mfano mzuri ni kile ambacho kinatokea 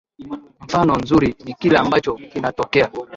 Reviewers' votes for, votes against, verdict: 2, 0, accepted